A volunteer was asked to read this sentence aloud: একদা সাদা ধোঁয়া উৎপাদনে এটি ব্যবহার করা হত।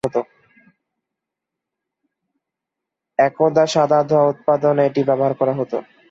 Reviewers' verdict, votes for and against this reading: rejected, 3, 4